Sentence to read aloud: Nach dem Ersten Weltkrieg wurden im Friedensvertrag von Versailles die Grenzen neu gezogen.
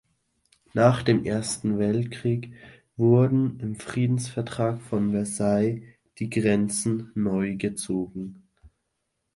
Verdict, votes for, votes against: accepted, 2, 0